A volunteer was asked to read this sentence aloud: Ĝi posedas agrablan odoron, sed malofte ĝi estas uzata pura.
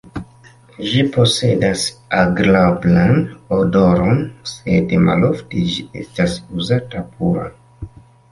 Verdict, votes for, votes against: accepted, 2, 0